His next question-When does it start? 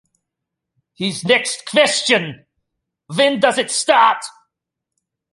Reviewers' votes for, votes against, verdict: 1, 2, rejected